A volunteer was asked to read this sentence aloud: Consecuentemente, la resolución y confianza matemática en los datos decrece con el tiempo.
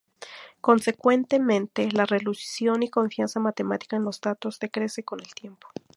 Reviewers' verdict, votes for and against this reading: accepted, 2, 0